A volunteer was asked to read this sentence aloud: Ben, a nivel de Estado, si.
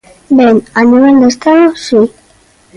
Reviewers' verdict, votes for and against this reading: accepted, 2, 0